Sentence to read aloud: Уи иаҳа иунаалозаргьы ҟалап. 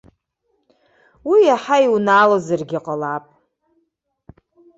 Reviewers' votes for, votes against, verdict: 2, 0, accepted